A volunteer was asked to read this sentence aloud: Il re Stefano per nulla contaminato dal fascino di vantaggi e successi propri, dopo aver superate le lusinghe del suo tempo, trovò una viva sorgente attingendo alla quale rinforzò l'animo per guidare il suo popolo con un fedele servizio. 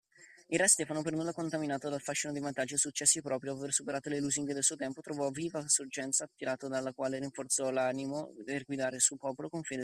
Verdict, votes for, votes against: rejected, 0, 2